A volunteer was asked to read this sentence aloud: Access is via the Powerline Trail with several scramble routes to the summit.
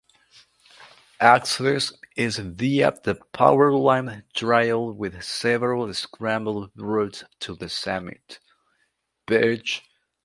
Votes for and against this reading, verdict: 0, 2, rejected